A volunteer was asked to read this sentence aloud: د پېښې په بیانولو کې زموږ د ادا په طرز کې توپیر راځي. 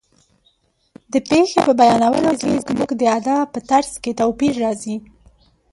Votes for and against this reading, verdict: 0, 2, rejected